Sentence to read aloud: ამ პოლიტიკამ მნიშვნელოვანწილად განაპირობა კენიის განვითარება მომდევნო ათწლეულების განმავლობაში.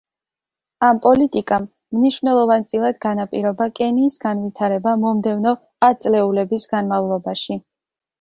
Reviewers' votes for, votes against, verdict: 2, 0, accepted